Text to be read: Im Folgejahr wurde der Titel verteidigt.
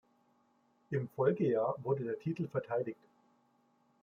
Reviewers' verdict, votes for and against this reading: accepted, 2, 0